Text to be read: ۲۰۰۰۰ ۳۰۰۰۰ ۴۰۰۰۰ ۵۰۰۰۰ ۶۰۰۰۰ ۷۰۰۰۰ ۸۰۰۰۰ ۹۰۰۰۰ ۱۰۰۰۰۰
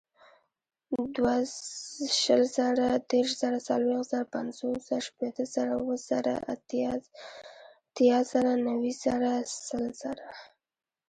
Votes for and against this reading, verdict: 0, 2, rejected